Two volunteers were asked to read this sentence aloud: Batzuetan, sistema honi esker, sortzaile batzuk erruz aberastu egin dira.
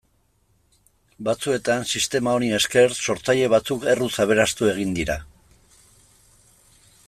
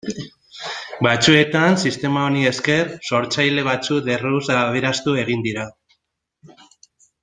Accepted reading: first